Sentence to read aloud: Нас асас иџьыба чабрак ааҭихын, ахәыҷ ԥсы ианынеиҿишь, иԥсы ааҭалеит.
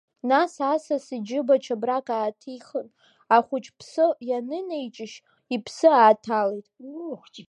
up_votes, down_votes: 2, 0